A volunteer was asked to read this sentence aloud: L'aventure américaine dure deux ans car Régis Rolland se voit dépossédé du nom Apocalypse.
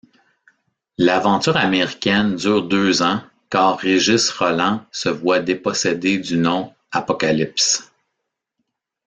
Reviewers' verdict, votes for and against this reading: accepted, 2, 0